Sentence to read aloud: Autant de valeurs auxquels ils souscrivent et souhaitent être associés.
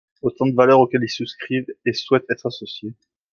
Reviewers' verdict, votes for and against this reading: accepted, 2, 0